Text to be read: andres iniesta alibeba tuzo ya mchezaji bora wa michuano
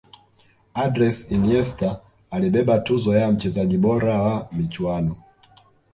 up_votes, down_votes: 2, 0